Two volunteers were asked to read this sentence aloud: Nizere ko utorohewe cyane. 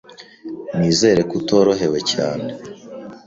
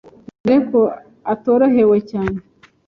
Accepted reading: first